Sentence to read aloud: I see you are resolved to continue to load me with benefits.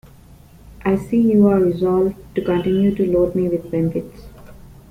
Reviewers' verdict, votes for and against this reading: accepted, 2, 0